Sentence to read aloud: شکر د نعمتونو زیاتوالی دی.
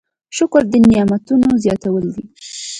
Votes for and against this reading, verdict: 2, 0, accepted